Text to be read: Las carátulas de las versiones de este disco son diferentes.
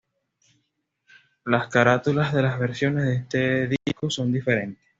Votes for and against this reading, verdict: 2, 0, accepted